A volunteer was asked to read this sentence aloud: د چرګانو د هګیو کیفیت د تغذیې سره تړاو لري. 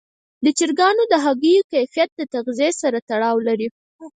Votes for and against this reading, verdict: 4, 0, accepted